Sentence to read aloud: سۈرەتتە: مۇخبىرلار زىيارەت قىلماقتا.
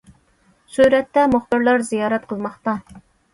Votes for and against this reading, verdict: 2, 0, accepted